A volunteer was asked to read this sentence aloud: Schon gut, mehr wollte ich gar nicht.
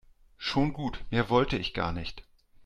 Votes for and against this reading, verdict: 2, 0, accepted